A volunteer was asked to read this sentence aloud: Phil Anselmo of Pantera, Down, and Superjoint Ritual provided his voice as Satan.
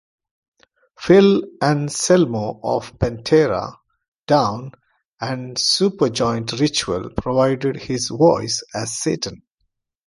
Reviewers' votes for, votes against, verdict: 0, 2, rejected